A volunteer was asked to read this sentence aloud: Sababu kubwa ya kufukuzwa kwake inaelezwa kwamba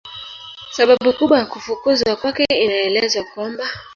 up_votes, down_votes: 1, 2